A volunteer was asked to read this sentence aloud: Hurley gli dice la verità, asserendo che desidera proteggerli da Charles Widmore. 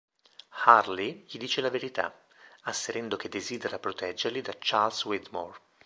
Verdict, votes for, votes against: accepted, 2, 0